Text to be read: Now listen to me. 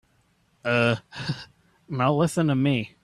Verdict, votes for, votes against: rejected, 1, 3